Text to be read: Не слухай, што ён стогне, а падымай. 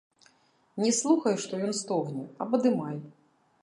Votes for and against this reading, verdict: 0, 2, rejected